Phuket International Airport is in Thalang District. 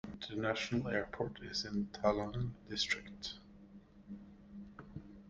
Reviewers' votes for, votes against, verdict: 0, 2, rejected